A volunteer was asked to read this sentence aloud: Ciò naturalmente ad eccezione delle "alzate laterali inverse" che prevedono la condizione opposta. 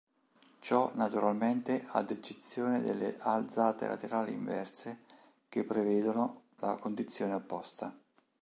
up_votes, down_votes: 2, 0